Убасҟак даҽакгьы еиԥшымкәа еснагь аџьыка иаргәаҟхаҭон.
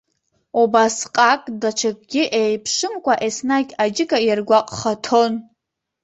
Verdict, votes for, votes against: accepted, 3, 2